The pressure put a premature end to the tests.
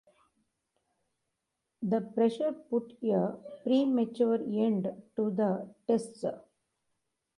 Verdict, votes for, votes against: rejected, 1, 3